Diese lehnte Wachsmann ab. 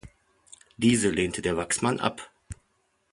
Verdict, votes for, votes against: rejected, 0, 2